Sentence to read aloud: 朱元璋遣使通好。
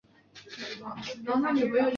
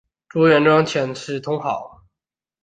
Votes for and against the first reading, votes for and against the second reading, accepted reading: 1, 2, 2, 0, second